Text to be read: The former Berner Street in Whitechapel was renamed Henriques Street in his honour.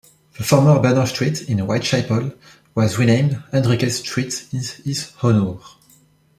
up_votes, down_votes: 2, 1